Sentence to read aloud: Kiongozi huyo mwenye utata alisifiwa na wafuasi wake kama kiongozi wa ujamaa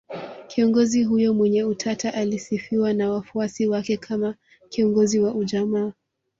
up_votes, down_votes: 2, 1